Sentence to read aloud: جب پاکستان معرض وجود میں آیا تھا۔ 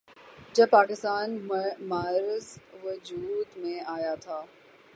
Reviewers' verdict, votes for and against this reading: rejected, 0, 3